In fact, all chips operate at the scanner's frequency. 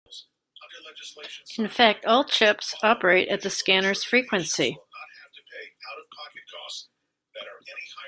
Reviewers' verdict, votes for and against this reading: rejected, 0, 2